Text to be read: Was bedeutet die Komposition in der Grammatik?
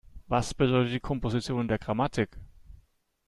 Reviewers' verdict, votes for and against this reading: rejected, 0, 2